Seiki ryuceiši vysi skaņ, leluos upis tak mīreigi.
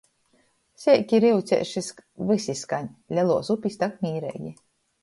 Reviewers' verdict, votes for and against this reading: rejected, 0, 2